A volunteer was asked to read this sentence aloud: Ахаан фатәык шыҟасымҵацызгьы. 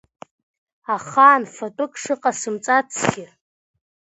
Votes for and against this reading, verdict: 1, 3, rejected